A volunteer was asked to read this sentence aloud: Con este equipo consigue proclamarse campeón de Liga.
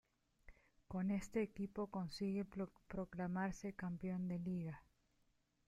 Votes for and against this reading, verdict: 0, 2, rejected